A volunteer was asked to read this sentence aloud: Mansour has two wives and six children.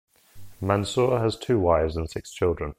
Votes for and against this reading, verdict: 2, 0, accepted